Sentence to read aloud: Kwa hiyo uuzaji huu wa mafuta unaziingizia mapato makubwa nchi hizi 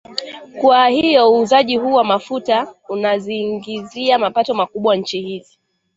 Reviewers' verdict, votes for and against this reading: rejected, 1, 2